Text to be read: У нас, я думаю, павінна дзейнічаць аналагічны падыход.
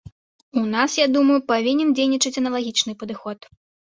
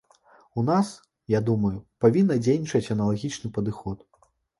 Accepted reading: second